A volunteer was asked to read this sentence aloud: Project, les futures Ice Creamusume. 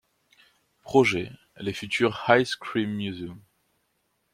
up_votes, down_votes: 1, 2